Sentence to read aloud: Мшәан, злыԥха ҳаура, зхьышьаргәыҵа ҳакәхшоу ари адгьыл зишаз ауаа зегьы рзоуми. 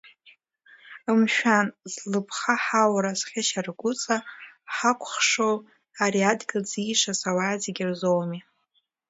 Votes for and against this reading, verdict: 2, 0, accepted